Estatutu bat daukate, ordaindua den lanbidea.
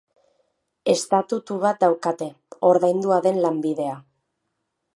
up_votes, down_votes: 2, 0